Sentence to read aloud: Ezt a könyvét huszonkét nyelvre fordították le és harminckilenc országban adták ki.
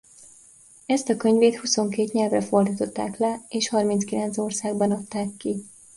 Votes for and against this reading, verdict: 2, 0, accepted